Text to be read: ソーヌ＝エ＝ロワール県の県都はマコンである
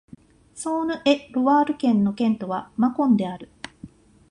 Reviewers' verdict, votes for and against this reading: accepted, 2, 0